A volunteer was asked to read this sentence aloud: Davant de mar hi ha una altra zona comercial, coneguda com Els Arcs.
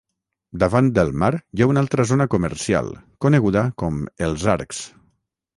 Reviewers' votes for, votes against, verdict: 3, 3, rejected